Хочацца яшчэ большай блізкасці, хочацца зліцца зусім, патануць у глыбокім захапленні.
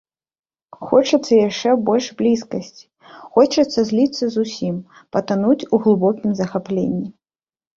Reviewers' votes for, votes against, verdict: 1, 2, rejected